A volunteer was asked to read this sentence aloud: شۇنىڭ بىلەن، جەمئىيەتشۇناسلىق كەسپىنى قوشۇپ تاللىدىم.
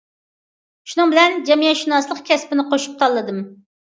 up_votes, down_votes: 2, 0